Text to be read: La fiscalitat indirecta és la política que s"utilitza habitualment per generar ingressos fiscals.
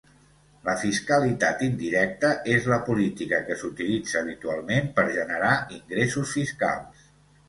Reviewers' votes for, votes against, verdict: 2, 0, accepted